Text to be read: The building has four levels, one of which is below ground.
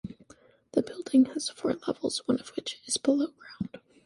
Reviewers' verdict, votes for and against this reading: accepted, 2, 0